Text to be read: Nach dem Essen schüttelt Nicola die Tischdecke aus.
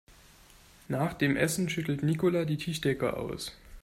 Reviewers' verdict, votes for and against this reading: accepted, 2, 0